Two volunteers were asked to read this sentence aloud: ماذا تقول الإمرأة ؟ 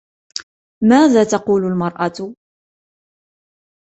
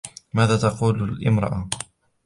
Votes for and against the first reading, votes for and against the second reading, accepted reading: 1, 2, 2, 0, second